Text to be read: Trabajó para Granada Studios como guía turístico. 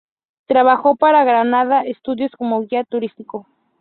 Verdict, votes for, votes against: accepted, 2, 0